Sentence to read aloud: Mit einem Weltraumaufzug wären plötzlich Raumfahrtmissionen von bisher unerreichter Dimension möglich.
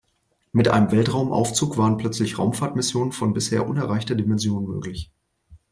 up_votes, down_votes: 0, 2